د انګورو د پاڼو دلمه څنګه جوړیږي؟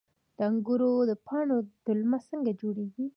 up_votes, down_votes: 2, 0